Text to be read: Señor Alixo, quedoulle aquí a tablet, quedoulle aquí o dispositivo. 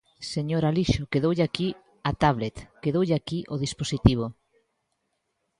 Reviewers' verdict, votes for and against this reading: accepted, 2, 0